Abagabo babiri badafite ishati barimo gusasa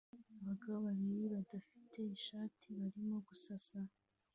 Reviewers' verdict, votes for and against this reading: accepted, 2, 0